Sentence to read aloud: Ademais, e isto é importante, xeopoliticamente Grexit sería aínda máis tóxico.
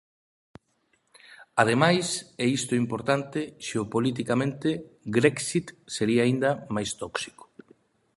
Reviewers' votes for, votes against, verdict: 2, 0, accepted